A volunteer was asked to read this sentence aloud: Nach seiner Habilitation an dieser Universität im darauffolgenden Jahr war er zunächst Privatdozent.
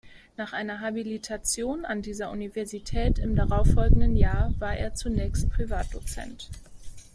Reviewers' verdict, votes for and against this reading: rejected, 1, 2